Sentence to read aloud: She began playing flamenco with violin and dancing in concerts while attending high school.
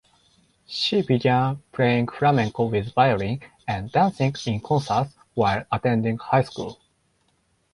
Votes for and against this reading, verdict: 2, 4, rejected